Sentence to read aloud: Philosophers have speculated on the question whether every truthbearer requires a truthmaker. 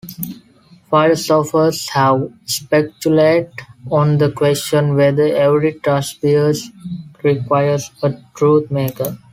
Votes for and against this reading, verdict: 0, 2, rejected